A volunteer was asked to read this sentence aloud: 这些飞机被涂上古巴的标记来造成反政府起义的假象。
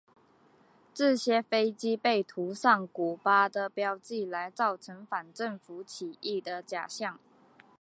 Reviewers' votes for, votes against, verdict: 2, 0, accepted